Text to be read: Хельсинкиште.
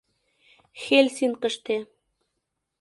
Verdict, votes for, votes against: rejected, 0, 2